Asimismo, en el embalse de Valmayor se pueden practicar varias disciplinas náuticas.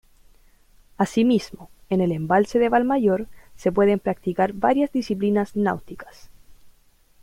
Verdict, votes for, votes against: accepted, 2, 0